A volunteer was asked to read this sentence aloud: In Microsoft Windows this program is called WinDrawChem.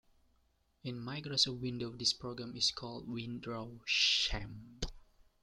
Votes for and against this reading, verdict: 0, 2, rejected